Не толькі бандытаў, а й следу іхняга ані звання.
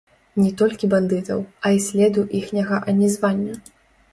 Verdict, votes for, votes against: rejected, 1, 2